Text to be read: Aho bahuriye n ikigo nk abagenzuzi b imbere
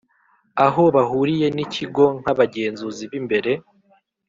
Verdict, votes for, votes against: accepted, 4, 0